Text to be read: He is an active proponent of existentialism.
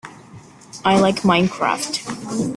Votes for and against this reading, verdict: 0, 2, rejected